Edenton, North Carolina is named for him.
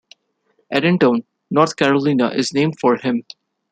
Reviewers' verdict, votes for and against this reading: rejected, 1, 2